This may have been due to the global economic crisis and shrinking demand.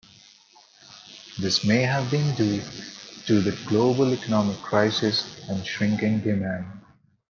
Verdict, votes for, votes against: accepted, 3, 0